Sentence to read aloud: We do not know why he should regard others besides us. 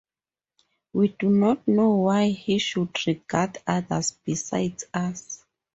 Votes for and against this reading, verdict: 2, 2, rejected